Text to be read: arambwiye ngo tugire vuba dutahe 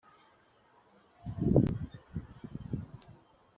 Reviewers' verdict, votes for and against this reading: rejected, 0, 2